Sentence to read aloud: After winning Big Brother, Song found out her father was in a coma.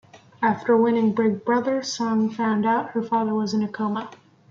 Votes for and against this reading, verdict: 2, 0, accepted